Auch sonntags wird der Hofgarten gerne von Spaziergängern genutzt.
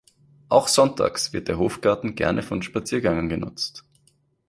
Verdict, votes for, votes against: accepted, 2, 0